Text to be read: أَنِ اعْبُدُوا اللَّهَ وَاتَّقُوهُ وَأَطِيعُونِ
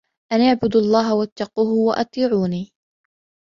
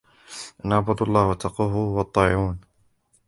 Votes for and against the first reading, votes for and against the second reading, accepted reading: 2, 0, 0, 2, first